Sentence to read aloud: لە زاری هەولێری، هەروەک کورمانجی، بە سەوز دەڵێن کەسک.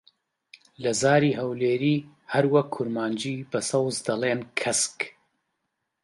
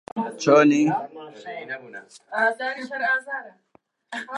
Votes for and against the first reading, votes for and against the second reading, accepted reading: 3, 0, 0, 2, first